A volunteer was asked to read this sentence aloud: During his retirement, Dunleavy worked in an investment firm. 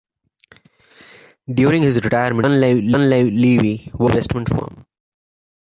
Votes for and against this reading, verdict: 0, 2, rejected